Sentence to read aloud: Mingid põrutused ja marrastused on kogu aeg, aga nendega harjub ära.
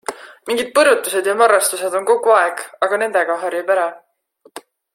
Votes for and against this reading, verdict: 2, 0, accepted